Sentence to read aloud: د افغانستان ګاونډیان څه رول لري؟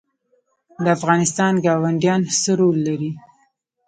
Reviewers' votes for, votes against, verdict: 1, 2, rejected